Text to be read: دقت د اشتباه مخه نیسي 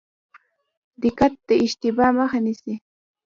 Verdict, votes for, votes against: accepted, 2, 0